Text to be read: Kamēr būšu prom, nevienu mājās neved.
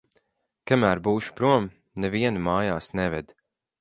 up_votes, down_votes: 4, 0